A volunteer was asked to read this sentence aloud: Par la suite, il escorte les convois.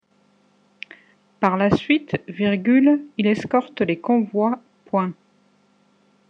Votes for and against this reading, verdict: 1, 2, rejected